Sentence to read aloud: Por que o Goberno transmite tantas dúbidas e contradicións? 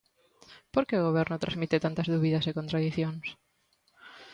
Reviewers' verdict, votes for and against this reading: accepted, 2, 0